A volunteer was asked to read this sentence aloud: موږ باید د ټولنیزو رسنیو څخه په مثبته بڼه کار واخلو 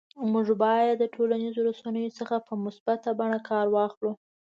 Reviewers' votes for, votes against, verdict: 2, 0, accepted